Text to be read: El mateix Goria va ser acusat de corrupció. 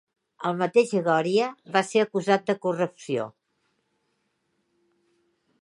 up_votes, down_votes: 2, 1